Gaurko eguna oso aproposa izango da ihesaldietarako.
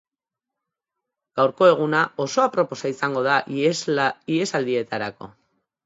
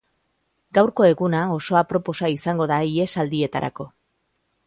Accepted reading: second